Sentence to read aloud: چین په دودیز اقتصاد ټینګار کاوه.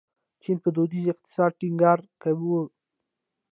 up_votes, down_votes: 0, 2